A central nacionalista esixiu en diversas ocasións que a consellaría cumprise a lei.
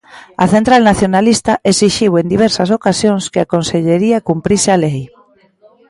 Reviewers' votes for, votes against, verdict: 1, 2, rejected